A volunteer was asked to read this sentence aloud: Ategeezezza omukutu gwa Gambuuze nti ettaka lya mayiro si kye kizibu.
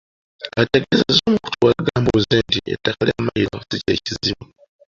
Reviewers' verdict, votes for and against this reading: accepted, 2, 1